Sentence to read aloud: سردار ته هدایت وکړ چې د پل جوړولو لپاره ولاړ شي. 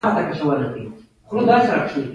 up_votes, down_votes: 1, 2